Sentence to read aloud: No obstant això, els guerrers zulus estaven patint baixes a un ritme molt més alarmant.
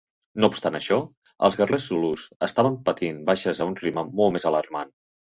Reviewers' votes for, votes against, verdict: 3, 0, accepted